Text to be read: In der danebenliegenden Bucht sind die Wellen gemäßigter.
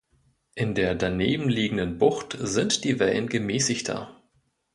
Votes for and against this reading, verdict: 2, 1, accepted